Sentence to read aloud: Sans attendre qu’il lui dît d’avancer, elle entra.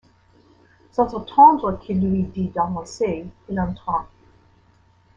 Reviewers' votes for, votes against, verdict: 0, 2, rejected